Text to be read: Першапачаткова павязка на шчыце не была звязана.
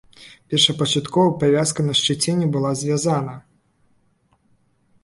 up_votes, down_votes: 1, 2